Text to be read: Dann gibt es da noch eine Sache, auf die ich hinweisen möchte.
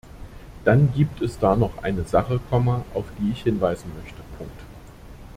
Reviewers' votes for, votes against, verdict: 0, 2, rejected